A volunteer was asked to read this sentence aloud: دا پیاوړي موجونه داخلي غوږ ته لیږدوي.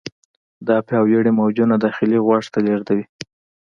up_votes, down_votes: 2, 0